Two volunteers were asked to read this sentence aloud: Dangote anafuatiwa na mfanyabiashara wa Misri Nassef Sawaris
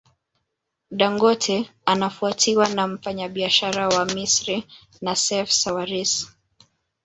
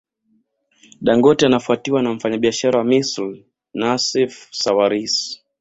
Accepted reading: second